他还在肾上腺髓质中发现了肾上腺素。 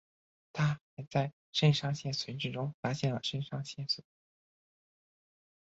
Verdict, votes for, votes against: accepted, 4, 2